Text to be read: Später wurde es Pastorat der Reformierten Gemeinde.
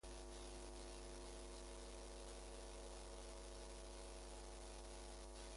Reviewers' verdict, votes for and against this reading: rejected, 0, 2